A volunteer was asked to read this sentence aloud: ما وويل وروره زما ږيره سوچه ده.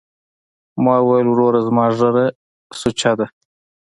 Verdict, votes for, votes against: accepted, 2, 0